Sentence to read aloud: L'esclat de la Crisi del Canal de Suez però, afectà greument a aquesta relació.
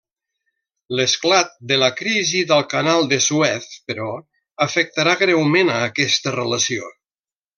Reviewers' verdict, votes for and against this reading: rejected, 0, 2